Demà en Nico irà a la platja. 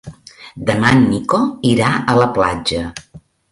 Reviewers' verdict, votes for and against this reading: accepted, 2, 0